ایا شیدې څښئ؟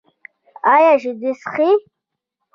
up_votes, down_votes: 2, 0